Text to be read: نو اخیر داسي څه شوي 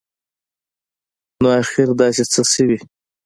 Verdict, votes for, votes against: accepted, 2, 0